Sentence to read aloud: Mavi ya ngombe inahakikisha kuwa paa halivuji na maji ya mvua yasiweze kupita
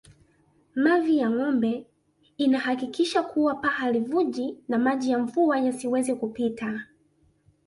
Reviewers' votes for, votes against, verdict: 2, 0, accepted